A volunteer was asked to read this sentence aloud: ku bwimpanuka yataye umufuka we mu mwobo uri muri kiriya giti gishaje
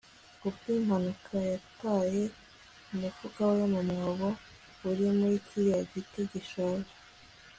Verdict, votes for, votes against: accepted, 2, 0